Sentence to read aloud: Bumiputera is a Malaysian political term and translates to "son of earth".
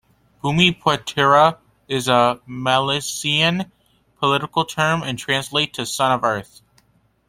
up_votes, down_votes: 1, 2